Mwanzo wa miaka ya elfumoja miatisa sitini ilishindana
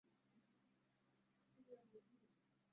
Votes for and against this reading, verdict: 0, 2, rejected